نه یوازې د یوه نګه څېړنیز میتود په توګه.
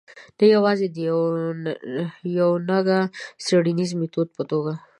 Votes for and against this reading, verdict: 1, 2, rejected